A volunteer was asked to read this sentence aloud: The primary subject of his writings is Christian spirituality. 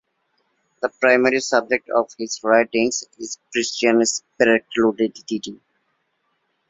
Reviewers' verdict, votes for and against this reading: rejected, 0, 2